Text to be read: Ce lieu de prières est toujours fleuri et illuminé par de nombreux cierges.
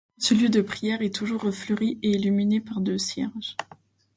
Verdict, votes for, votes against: rejected, 0, 2